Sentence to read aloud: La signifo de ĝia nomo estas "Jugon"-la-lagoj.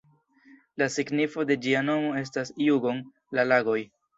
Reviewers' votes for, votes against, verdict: 2, 0, accepted